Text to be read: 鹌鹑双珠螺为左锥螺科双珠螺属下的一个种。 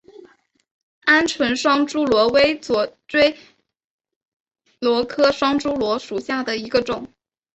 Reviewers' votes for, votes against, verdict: 7, 2, accepted